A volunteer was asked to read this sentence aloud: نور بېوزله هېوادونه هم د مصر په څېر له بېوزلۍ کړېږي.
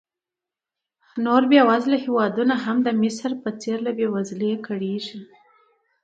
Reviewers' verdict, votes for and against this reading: accepted, 2, 0